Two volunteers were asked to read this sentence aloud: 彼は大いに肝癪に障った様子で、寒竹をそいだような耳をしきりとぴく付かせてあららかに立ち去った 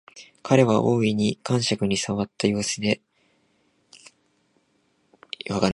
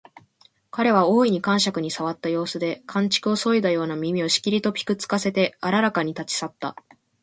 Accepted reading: second